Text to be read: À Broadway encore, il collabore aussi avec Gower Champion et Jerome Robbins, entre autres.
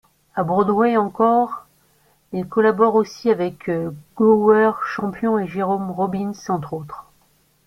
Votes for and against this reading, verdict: 2, 0, accepted